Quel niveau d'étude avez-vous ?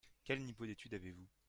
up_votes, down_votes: 2, 1